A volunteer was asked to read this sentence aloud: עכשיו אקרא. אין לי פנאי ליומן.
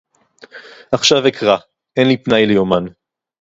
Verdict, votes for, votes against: accepted, 4, 0